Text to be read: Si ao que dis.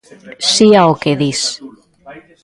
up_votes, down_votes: 0, 2